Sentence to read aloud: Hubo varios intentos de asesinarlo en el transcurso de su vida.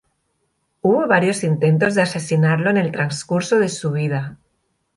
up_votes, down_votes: 2, 0